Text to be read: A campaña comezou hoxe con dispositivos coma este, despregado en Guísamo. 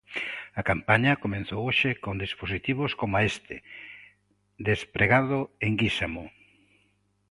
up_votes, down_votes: 0, 2